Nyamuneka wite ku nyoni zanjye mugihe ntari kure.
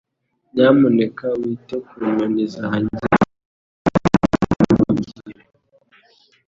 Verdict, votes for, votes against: rejected, 1, 2